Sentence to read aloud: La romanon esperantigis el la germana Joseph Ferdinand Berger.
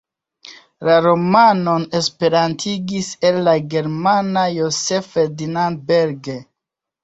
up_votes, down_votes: 2, 0